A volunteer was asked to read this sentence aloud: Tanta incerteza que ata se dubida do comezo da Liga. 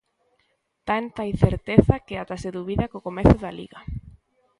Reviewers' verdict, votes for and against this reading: rejected, 0, 3